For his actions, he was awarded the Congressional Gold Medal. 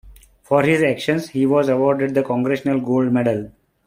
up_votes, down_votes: 2, 0